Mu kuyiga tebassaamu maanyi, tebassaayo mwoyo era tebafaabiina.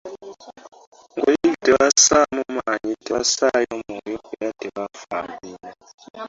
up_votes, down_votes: 0, 2